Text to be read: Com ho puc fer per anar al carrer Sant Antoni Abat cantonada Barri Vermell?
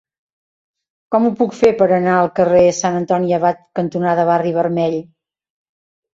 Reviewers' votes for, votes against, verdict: 2, 0, accepted